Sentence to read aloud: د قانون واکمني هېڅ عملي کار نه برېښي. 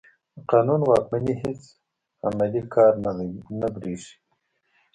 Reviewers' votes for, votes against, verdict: 1, 2, rejected